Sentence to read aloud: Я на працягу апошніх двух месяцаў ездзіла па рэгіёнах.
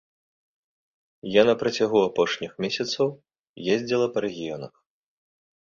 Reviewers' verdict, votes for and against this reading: rejected, 0, 2